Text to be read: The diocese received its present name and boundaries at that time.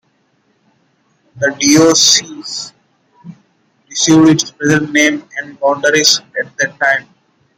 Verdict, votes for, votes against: rejected, 0, 2